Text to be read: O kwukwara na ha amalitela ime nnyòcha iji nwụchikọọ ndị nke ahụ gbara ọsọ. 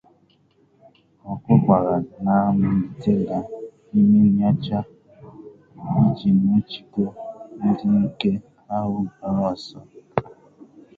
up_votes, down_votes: 0, 2